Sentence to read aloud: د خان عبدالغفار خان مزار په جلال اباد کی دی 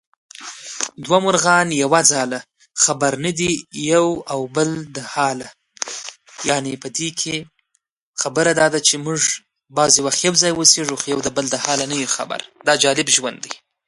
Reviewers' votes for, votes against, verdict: 0, 2, rejected